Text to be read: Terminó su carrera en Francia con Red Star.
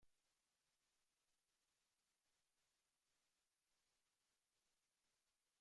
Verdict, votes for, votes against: rejected, 0, 2